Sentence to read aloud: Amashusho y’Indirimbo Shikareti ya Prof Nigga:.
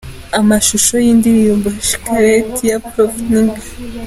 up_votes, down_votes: 2, 0